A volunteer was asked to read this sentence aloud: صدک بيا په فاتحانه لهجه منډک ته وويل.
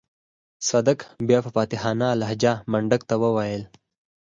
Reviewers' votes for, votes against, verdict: 4, 0, accepted